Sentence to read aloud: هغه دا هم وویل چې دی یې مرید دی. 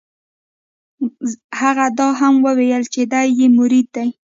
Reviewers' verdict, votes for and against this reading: accepted, 2, 0